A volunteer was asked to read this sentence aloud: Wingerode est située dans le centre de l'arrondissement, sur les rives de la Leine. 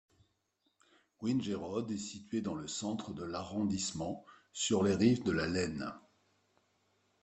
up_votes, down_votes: 2, 0